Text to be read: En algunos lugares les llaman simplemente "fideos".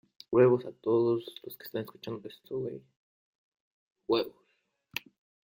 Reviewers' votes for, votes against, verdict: 0, 2, rejected